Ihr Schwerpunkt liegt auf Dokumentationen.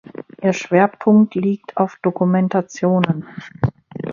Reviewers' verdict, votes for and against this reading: rejected, 2, 4